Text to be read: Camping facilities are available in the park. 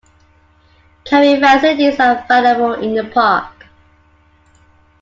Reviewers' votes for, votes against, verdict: 0, 2, rejected